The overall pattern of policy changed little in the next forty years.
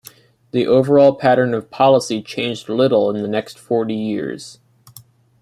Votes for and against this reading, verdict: 2, 0, accepted